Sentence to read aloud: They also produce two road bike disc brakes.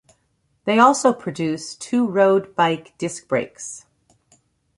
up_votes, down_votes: 2, 0